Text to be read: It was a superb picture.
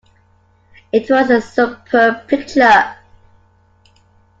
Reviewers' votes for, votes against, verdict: 2, 0, accepted